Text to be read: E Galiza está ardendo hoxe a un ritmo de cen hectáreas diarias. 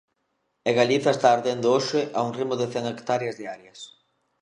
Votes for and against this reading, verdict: 2, 0, accepted